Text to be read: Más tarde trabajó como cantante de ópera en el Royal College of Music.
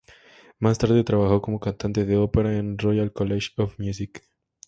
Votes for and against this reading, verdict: 2, 0, accepted